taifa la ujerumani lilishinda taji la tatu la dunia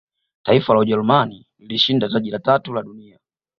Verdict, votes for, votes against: accepted, 2, 0